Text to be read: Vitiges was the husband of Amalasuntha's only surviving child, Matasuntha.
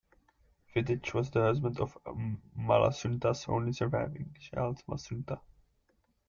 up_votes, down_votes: 2, 0